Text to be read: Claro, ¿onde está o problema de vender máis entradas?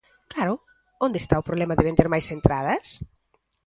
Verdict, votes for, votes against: accepted, 2, 0